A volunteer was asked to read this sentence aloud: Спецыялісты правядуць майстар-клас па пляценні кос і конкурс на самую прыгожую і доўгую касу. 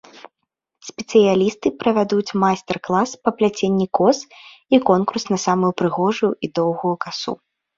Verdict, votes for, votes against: accepted, 2, 0